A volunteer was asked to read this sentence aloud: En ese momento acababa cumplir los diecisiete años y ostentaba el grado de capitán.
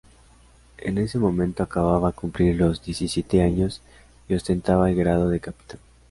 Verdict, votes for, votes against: accepted, 2, 0